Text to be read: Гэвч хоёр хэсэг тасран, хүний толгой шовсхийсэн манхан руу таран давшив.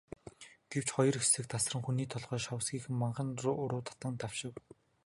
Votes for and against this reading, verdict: 2, 0, accepted